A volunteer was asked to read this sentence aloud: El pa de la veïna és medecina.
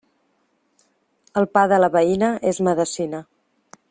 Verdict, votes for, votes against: accepted, 2, 0